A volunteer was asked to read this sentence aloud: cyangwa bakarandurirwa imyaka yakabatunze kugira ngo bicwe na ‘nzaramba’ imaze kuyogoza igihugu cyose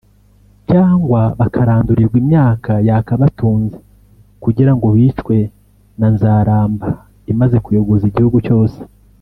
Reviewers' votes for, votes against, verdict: 1, 3, rejected